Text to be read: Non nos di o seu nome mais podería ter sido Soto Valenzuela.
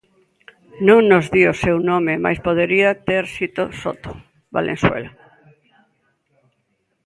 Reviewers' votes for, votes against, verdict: 0, 2, rejected